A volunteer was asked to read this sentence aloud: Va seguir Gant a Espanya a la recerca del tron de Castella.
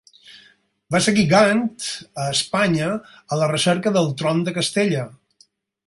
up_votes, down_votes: 4, 0